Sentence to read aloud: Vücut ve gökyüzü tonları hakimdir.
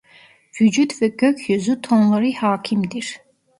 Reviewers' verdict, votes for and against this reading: rejected, 1, 2